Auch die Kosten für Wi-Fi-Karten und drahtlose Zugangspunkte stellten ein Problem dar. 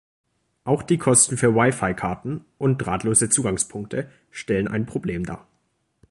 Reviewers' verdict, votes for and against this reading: rejected, 1, 2